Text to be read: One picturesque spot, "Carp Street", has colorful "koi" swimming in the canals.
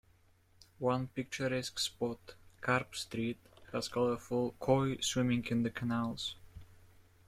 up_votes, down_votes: 2, 0